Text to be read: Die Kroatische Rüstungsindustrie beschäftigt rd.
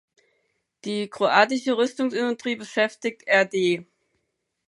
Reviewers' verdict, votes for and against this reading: rejected, 2, 4